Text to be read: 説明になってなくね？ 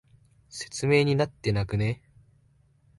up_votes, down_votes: 2, 0